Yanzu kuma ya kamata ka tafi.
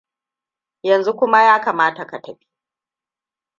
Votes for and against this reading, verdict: 2, 1, accepted